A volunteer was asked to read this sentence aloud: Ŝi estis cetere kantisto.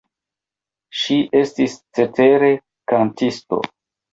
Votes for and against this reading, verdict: 0, 2, rejected